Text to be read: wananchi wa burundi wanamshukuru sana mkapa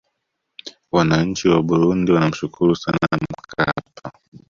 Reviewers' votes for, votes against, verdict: 0, 2, rejected